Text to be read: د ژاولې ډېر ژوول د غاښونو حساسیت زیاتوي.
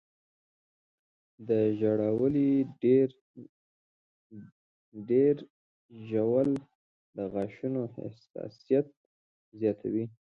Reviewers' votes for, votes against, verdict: 1, 2, rejected